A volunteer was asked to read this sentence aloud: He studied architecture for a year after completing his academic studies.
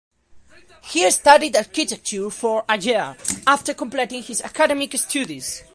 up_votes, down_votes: 0, 2